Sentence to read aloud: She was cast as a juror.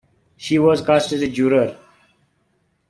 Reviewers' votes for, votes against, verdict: 1, 2, rejected